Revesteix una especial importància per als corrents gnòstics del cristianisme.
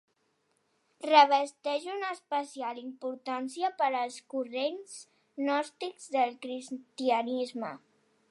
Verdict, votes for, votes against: accepted, 3, 0